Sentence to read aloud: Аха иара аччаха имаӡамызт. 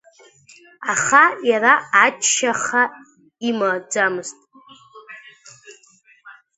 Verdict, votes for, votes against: rejected, 0, 2